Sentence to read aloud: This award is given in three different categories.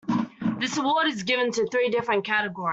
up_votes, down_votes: 0, 2